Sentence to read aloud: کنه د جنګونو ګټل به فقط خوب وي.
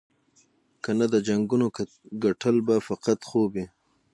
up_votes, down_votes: 6, 3